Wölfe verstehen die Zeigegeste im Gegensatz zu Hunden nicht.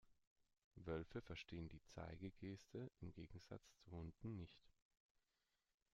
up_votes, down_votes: 1, 2